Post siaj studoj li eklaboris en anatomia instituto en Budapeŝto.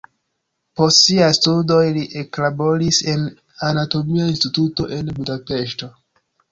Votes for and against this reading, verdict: 1, 2, rejected